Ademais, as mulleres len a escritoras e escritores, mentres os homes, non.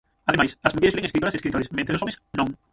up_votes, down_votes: 0, 6